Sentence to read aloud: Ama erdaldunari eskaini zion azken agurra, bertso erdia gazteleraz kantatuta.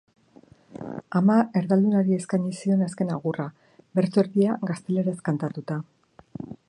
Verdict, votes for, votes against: rejected, 1, 2